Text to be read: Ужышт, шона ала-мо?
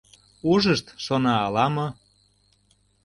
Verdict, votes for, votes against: accepted, 2, 0